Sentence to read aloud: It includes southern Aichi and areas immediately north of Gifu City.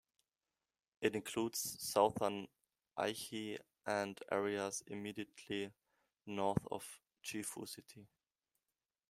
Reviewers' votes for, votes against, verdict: 2, 0, accepted